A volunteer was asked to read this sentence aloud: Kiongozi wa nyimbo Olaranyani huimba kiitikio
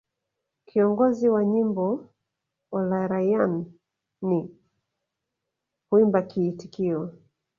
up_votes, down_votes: 1, 4